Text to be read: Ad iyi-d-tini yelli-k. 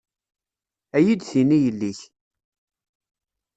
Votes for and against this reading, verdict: 2, 0, accepted